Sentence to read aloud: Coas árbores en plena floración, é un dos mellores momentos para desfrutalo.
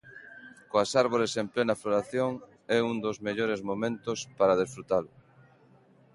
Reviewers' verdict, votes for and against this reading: accepted, 2, 0